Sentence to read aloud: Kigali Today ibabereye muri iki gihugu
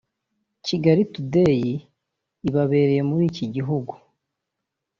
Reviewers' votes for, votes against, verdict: 2, 0, accepted